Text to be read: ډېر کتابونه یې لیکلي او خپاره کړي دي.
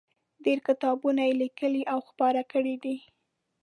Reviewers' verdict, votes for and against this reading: accepted, 2, 0